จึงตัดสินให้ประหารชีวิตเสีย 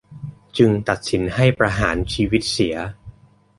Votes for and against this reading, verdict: 2, 0, accepted